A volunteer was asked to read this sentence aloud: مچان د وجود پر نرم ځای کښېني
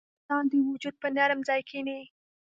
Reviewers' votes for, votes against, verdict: 1, 2, rejected